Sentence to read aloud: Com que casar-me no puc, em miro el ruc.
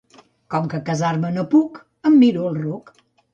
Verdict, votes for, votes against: accepted, 2, 0